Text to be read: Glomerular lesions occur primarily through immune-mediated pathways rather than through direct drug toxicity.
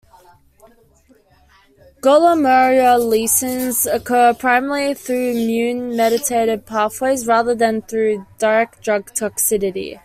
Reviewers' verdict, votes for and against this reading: rejected, 0, 2